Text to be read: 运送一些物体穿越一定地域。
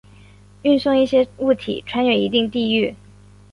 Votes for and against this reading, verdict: 0, 2, rejected